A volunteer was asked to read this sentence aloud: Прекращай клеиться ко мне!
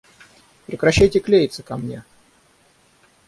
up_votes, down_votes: 3, 6